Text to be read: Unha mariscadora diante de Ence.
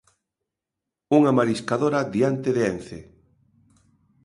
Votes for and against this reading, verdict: 2, 0, accepted